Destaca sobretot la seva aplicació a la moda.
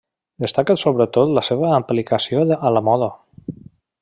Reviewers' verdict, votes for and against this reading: accepted, 2, 1